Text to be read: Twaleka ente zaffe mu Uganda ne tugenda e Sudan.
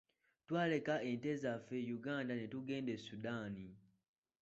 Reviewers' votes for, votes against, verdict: 1, 2, rejected